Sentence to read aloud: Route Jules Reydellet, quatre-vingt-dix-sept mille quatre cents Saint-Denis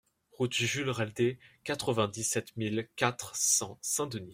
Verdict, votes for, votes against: rejected, 1, 2